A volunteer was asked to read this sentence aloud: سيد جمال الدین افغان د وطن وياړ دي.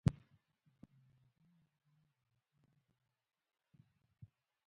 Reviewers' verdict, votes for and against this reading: rejected, 1, 2